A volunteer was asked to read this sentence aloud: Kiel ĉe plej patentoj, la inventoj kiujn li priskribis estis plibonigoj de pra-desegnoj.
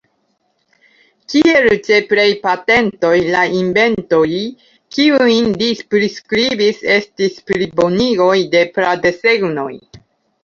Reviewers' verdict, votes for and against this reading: accepted, 2, 0